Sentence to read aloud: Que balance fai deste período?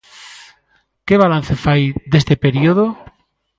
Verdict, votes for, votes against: accepted, 2, 1